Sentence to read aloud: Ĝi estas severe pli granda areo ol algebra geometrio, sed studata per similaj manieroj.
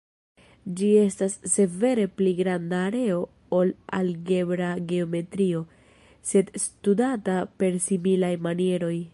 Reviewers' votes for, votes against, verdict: 1, 2, rejected